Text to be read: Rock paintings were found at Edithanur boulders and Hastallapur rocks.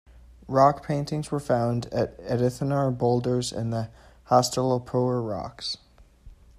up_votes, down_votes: 1, 2